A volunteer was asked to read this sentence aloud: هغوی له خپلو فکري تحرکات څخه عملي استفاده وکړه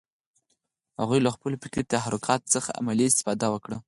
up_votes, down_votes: 4, 0